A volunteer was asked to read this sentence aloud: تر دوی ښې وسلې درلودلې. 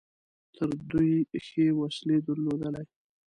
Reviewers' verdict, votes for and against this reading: accepted, 2, 0